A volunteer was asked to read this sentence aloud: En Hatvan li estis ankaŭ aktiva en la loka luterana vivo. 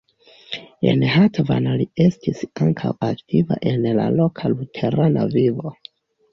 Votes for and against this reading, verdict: 2, 1, accepted